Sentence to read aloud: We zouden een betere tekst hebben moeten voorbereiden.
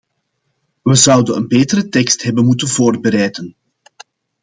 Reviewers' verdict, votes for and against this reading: accepted, 2, 0